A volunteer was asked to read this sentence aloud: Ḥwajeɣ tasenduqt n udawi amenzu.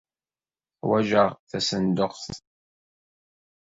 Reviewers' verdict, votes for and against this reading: rejected, 0, 2